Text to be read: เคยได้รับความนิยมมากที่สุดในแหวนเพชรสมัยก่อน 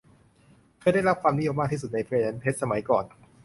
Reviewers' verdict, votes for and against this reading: accepted, 2, 0